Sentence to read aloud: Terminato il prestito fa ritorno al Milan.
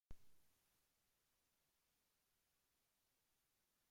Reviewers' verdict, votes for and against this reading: rejected, 0, 2